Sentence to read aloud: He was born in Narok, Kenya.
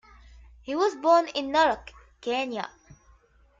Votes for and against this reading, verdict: 2, 0, accepted